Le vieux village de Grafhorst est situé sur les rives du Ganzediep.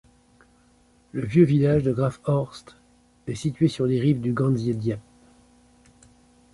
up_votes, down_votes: 2, 0